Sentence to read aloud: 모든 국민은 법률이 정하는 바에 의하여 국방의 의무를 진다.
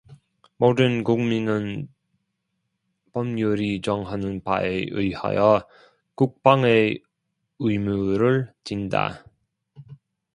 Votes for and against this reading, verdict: 2, 0, accepted